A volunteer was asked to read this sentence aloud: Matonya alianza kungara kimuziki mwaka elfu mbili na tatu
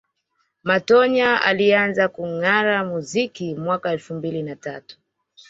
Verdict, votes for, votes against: accepted, 2, 0